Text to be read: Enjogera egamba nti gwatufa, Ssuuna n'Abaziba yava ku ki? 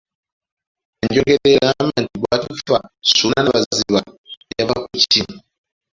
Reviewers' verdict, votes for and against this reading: rejected, 0, 2